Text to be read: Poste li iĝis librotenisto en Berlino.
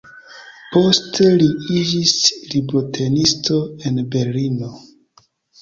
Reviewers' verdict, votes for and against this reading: accepted, 2, 0